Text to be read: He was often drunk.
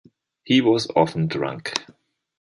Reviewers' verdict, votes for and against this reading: accepted, 2, 0